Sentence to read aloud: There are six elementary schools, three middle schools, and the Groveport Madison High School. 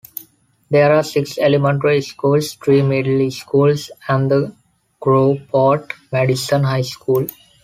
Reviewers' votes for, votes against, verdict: 2, 1, accepted